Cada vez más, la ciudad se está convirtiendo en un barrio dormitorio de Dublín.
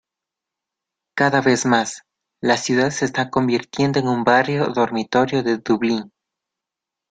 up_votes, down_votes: 0, 2